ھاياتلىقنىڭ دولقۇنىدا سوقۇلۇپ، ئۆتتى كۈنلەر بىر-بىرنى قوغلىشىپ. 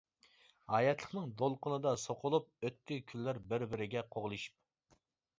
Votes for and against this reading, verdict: 1, 2, rejected